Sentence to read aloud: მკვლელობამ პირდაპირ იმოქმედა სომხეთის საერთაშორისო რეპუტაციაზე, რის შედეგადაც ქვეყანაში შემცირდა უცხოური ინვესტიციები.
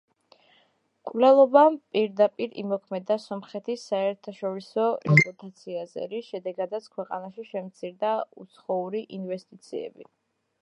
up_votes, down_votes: 1, 2